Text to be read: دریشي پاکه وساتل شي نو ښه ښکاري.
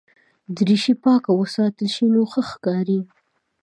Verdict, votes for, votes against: accepted, 2, 0